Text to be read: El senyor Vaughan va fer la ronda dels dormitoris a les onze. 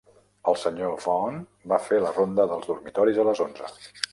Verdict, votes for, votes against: rejected, 0, 2